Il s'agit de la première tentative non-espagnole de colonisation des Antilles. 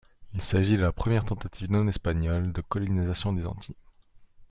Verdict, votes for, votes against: rejected, 1, 2